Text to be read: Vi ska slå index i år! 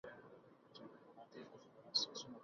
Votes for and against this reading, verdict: 0, 2, rejected